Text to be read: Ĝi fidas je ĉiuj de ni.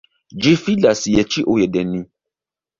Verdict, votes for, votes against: rejected, 1, 2